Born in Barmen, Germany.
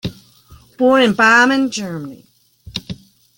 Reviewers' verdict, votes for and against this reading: rejected, 0, 2